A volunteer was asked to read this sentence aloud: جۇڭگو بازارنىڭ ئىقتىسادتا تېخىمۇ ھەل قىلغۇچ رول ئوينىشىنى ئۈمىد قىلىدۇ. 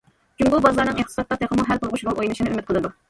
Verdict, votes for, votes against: rejected, 1, 2